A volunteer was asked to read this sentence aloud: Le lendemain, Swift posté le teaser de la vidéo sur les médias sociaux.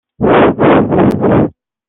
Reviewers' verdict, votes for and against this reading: rejected, 0, 2